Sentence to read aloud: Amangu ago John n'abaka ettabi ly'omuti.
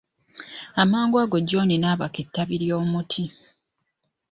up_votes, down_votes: 2, 0